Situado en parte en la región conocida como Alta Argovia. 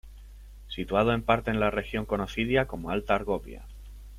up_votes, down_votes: 0, 2